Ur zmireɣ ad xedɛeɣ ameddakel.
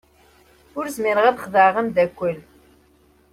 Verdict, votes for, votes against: accepted, 2, 0